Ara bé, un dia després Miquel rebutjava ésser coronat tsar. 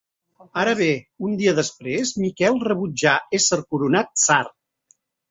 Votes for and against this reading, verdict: 1, 2, rejected